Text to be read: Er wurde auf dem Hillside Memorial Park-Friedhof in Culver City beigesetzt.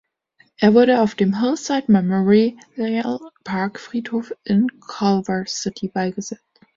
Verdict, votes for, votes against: rejected, 0, 2